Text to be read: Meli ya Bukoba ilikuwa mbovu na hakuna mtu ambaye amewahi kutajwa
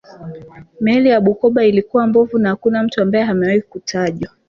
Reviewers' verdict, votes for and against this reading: rejected, 0, 2